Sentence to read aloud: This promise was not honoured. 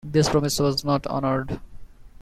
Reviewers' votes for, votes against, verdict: 1, 2, rejected